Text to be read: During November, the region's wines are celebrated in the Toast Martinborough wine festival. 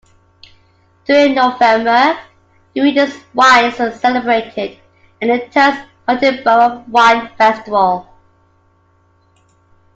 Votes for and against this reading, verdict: 2, 1, accepted